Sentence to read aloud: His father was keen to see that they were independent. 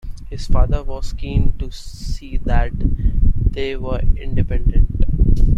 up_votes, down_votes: 2, 0